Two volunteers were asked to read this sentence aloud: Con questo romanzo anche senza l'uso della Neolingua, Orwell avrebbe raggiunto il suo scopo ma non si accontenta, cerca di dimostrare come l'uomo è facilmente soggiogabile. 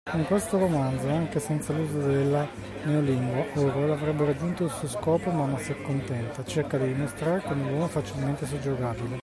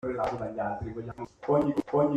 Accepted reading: first